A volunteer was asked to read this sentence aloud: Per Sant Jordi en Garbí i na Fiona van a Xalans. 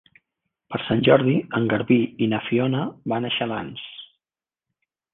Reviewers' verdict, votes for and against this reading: accepted, 3, 0